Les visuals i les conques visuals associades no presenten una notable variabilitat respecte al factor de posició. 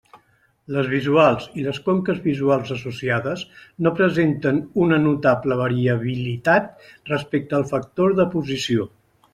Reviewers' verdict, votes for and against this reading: accepted, 2, 0